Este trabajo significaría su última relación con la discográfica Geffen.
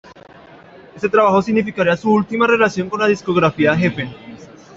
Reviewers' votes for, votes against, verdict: 1, 2, rejected